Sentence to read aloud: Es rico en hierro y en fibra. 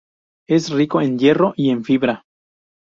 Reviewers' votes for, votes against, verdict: 0, 2, rejected